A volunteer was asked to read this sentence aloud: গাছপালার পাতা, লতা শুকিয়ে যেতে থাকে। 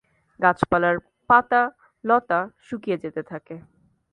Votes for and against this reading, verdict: 2, 0, accepted